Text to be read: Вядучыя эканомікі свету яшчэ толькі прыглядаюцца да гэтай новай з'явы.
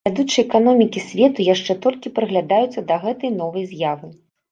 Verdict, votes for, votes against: accepted, 2, 0